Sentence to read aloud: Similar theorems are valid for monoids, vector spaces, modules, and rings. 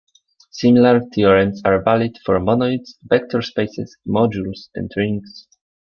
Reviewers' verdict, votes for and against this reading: accepted, 2, 1